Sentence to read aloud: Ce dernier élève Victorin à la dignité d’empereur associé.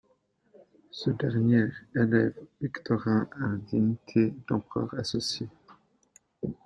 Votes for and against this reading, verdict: 0, 2, rejected